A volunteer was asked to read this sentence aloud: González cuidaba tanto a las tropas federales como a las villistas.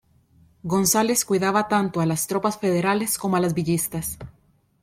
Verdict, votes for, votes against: accepted, 2, 0